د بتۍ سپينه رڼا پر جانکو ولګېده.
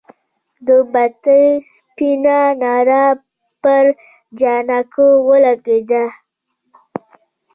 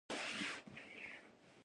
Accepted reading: first